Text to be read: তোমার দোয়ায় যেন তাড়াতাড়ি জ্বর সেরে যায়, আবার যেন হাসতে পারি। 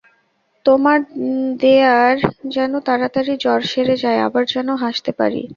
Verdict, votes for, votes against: rejected, 0, 2